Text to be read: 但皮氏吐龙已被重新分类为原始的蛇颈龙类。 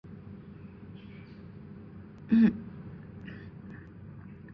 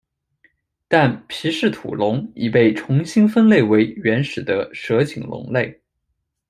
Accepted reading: second